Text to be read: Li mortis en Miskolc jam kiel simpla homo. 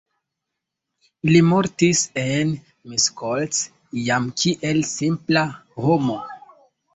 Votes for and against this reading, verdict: 1, 2, rejected